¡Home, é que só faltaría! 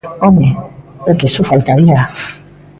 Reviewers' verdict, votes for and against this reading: rejected, 0, 2